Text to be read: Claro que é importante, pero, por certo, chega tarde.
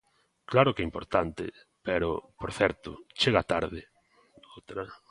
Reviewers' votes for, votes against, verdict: 0, 2, rejected